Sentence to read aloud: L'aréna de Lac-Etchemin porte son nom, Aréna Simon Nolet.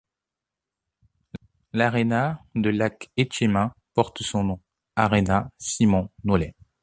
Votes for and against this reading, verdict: 2, 0, accepted